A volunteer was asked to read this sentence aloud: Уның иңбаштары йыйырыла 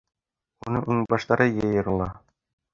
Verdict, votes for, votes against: rejected, 1, 3